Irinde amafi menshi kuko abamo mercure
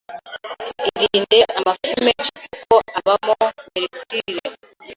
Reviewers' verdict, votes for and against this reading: rejected, 1, 2